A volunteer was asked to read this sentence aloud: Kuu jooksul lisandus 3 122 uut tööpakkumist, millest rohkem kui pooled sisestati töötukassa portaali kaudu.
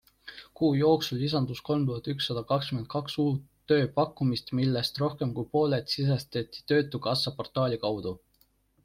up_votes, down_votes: 0, 2